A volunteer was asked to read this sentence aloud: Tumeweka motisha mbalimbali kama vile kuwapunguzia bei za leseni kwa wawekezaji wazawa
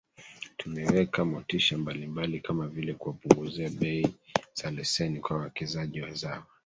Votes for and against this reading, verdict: 1, 2, rejected